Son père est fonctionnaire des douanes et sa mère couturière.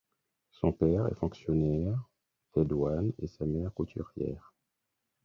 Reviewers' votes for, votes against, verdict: 0, 6, rejected